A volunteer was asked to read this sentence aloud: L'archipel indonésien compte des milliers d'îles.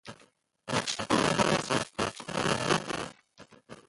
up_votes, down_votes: 0, 2